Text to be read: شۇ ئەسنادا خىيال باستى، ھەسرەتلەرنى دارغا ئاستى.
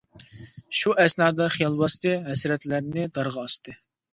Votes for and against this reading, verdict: 2, 0, accepted